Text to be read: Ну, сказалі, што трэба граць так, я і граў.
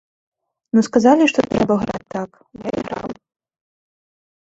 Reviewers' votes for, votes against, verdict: 0, 2, rejected